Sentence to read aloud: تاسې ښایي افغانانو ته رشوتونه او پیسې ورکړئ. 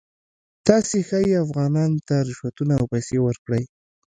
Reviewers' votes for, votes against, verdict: 2, 0, accepted